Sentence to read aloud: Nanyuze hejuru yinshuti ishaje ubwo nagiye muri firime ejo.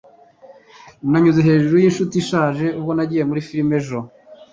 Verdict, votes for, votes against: accepted, 2, 0